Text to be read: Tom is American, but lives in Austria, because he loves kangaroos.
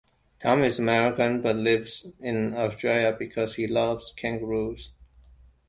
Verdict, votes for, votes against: rejected, 1, 2